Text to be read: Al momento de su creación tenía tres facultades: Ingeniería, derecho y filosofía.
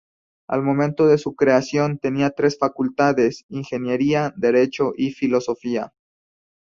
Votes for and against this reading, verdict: 4, 0, accepted